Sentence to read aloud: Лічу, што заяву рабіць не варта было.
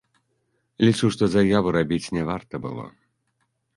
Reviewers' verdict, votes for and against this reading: accepted, 2, 0